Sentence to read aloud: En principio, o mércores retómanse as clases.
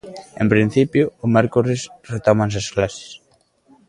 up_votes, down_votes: 2, 0